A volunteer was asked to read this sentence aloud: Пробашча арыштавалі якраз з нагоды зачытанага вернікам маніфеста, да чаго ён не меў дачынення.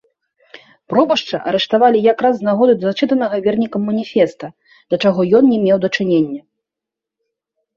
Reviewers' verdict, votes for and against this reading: accepted, 2, 0